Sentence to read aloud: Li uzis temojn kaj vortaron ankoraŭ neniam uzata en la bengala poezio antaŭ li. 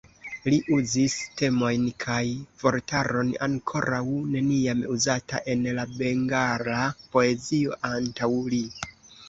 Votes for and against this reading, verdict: 2, 1, accepted